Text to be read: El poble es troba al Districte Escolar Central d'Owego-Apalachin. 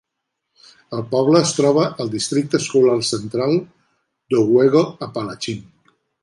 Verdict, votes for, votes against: accepted, 3, 0